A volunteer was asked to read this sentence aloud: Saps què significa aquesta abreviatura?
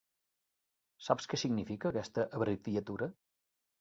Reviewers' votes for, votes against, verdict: 2, 4, rejected